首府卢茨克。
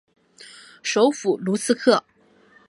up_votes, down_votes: 3, 0